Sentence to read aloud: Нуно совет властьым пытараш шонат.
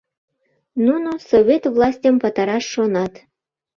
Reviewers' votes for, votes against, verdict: 2, 0, accepted